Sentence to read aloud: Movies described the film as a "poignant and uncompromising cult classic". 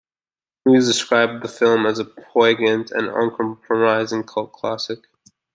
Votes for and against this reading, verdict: 2, 0, accepted